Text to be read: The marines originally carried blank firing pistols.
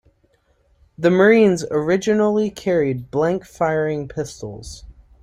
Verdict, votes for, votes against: accepted, 2, 0